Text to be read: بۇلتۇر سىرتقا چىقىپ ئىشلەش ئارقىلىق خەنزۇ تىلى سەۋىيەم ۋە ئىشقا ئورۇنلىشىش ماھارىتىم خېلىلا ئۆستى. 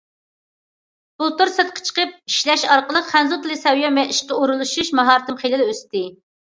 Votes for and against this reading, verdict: 2, 1, accepted